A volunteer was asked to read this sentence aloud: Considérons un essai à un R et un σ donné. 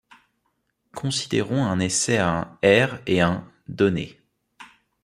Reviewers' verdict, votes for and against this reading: rejected, 1, 2